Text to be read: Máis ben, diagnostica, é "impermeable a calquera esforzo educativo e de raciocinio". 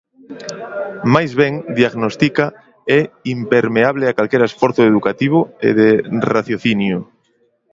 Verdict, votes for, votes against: accepted, 2, 0